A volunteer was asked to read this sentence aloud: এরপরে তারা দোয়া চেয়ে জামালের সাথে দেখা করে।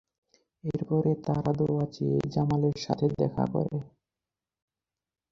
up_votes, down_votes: 0, 4